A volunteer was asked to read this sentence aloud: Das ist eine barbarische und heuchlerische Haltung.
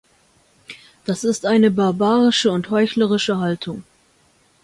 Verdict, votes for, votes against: accepted, 2, 0